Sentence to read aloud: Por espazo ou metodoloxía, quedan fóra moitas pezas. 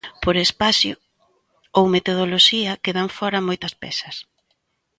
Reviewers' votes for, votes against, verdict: 0, 2, rejected